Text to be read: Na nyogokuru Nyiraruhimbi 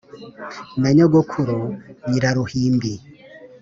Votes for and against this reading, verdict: 2, 0, accepted